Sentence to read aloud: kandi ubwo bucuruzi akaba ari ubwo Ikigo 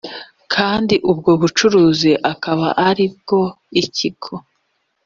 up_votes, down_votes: 2, 0